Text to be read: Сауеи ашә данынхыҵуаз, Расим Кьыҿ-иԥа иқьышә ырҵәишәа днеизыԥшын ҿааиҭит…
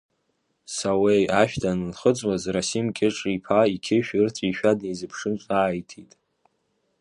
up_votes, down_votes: 2, 0